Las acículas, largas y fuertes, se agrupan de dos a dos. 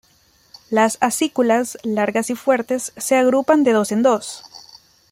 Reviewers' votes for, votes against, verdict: 1, 2, rejected